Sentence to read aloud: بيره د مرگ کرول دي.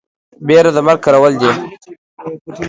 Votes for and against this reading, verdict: 2, 0, accepted